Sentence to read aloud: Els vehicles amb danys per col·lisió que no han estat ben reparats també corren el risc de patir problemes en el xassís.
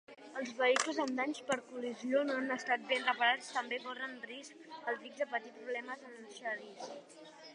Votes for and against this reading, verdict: 1, 3, rejected